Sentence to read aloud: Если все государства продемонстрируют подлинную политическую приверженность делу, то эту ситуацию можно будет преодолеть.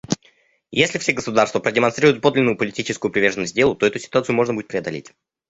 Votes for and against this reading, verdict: 0, 2, rejected